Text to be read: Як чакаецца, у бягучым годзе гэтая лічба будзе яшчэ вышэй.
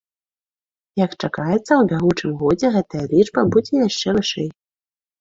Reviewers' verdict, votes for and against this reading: accepted, 2, 1